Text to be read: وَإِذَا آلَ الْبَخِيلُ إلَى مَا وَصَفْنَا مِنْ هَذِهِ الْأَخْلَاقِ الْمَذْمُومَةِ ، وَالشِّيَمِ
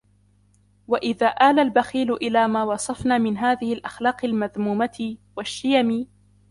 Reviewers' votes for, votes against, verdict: 2, 0, accepted